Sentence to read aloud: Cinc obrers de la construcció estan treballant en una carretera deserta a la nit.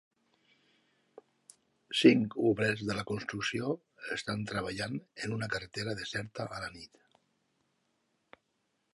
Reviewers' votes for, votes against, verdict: 3, 0, accepted